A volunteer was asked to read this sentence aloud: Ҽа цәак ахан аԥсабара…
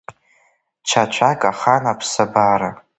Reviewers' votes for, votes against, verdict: 3, 1, accepted